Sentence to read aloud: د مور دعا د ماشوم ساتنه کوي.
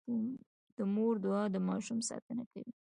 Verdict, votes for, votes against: accepted, 2, 0